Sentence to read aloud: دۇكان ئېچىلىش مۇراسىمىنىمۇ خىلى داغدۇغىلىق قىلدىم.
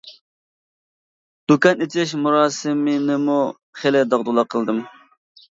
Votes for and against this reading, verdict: 1, 2, rejected